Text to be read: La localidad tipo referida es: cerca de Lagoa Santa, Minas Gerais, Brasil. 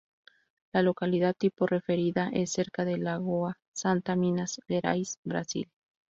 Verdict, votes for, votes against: rejected, 0, 2